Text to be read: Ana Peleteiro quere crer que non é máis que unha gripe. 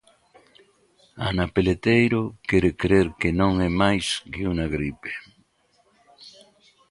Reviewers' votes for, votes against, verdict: 1, 2, rejected